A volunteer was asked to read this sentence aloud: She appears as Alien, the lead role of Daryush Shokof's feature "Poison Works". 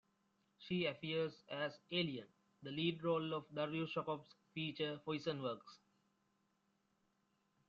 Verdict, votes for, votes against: rejected, 1, 2